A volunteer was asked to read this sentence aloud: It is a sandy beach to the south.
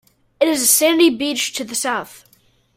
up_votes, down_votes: 2, 0